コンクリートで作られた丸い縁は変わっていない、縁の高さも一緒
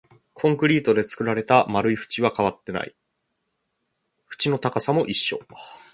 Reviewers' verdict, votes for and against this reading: accepted, 2, 0